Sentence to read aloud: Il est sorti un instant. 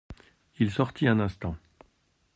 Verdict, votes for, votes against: rejected, 1, 3